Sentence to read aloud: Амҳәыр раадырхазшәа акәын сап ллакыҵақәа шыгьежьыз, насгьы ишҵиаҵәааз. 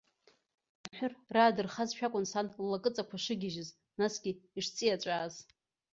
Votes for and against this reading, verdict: 0, 2, rejected